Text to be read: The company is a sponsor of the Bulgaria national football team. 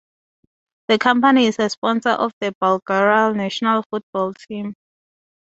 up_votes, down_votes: 2, 2